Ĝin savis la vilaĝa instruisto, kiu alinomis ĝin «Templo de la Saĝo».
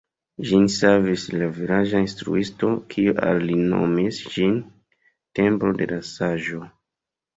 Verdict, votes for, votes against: rejected, 0, 2